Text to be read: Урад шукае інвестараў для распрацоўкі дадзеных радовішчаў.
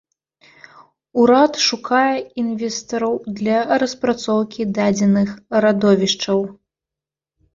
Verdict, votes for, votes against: rejected, 1, 2